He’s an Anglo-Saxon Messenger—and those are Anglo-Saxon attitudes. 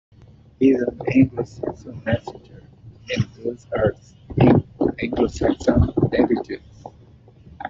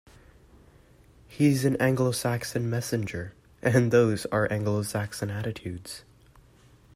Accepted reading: second